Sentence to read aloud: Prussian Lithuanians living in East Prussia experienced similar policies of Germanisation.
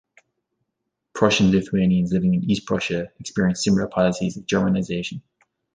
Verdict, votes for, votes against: rejected, 0, 2